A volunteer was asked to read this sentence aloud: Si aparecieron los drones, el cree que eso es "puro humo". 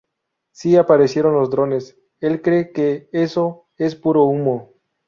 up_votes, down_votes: 2, 2